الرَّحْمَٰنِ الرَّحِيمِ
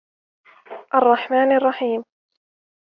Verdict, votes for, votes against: rejected, 1, 2